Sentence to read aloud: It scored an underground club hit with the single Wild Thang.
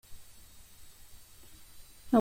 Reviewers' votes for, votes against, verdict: 0, 2, rejected